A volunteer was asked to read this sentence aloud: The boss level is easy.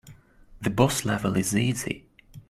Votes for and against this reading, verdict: 2, 0, accepted